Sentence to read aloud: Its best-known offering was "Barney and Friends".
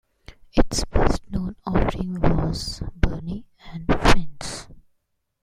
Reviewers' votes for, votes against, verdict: 0, 2, rejected